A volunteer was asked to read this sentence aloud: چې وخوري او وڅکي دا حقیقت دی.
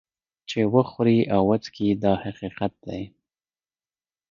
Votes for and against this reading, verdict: 1, 2, rejected